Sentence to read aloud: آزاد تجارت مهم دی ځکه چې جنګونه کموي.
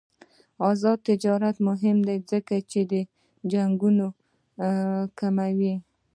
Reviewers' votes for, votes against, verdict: 2, 0, accepted